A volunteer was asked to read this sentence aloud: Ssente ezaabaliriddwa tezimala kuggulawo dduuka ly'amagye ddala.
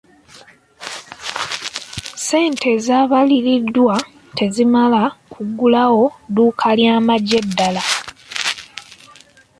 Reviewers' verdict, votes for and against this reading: accepted, 2, 0